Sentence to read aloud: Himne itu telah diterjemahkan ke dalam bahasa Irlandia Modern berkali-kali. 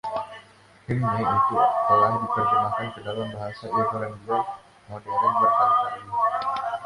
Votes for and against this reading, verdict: 1, 2, rejected